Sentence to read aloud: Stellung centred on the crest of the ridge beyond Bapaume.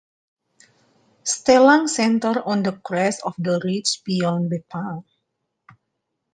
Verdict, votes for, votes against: rejected, 1, 2